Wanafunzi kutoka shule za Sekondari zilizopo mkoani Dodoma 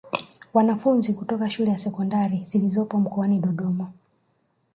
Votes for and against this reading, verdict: 2, 1, accepted